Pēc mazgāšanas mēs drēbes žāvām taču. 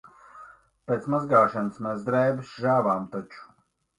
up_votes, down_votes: 1, 3